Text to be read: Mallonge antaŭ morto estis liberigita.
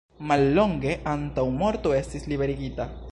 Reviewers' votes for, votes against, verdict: 1, 2, rejected